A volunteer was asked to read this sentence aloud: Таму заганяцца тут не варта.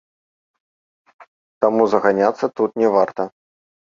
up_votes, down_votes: 1, 2